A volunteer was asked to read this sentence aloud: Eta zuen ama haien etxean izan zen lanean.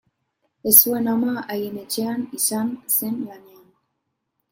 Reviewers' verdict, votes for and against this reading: rejected, 0, 2